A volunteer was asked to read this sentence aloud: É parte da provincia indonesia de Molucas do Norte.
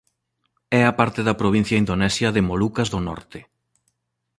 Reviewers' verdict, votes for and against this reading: rejected, 1, 2